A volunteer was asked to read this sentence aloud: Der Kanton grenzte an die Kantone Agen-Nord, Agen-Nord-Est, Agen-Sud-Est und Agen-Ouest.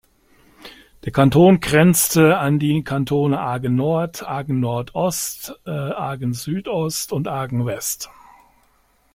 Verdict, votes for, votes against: rejected, 0, 2